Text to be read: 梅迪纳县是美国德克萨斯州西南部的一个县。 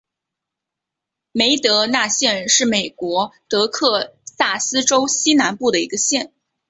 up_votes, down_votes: 1, 2